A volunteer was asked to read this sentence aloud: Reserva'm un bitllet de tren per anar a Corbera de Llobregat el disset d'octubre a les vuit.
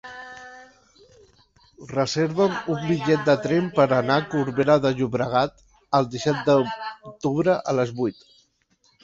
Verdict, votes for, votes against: rejected, 1, 2